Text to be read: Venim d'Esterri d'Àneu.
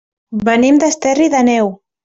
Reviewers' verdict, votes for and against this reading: rejected, 1, 2